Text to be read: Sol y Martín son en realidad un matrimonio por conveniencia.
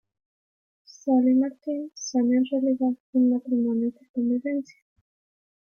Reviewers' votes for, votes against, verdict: 1, 2, rejected